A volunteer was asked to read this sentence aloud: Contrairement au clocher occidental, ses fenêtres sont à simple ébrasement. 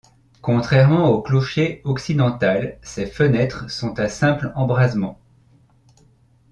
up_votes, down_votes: 0, 2